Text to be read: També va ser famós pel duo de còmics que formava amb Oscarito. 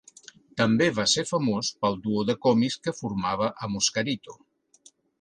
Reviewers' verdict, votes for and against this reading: accepted, 4, 0